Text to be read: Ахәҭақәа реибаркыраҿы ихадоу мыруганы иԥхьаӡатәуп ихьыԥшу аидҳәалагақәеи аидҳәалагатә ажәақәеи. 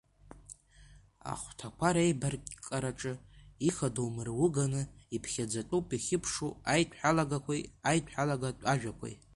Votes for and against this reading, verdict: 1, 2, rejected